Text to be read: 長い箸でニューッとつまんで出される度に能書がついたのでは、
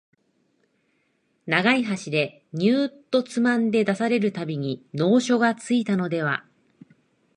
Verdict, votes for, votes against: rejected, 0, 2